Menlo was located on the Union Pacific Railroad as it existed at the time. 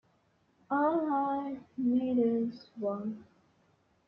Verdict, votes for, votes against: rejected, 0, 2